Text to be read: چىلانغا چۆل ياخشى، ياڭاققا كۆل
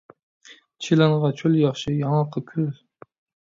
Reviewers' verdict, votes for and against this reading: accepted, 2, 0